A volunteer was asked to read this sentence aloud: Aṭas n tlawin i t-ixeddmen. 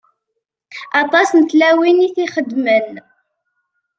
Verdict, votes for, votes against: accepted, 2, 0